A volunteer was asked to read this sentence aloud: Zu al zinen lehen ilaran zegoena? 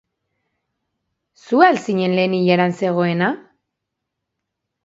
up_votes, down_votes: 3, 0